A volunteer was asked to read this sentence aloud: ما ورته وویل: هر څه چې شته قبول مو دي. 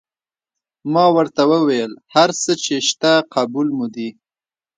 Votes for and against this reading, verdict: 2, 0, accepted